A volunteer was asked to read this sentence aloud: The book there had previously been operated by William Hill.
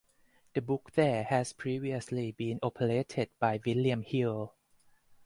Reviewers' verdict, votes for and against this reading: accepted, 4, 0